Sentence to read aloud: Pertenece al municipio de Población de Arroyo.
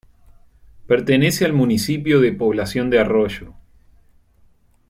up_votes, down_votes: 2, 0